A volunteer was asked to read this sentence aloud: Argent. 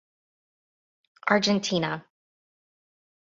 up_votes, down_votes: 0, 2